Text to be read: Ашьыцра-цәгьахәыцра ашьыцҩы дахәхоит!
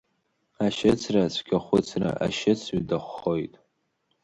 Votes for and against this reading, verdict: 2, 0, accepted